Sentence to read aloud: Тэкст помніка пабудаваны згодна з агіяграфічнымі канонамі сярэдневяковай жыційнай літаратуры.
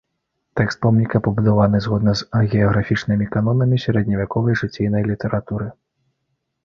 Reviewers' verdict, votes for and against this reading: accepted, 2, 0